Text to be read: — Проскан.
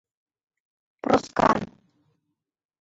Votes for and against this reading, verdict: 0, 2, rejected